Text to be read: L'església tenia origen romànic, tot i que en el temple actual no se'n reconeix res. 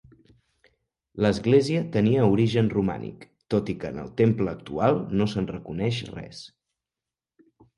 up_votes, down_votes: 3, 0